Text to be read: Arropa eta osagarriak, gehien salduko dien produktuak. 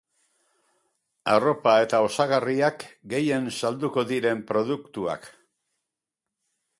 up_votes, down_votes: 0, 4